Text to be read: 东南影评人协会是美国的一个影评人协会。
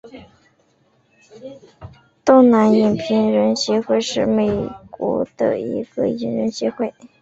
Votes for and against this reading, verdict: 2, 0, accepted